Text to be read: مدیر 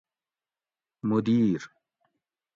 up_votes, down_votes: 2, 0